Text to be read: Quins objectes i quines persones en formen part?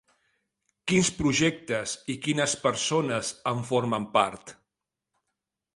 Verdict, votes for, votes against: rejected, 0, 2